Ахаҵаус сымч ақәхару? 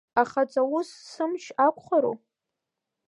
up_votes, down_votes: 2, 0